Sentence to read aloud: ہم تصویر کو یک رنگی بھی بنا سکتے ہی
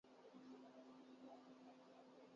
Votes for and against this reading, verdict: 3, 9, rejected